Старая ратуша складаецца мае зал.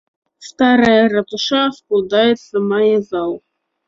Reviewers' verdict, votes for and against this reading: rejected, 0, 2